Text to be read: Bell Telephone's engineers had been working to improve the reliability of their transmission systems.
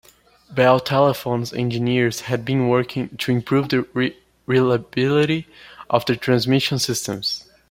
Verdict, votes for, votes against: rejected, 0, 2